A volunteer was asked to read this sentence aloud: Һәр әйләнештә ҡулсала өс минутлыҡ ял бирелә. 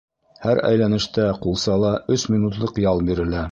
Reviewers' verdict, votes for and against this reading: accepted, 2, 0